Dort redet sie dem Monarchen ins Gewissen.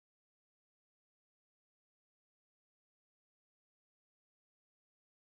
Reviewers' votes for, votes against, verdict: 0, 2, rejected